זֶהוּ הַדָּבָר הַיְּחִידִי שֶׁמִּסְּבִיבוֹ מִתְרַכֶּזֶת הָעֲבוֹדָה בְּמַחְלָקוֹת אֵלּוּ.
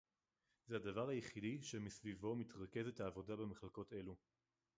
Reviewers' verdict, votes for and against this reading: rejected, 2, 2